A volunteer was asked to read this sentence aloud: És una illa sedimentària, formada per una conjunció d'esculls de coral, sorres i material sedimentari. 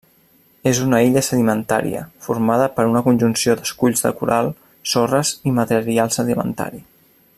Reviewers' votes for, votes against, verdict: 0, 2, rejected